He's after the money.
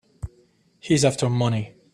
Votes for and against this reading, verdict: 2, 3, rejected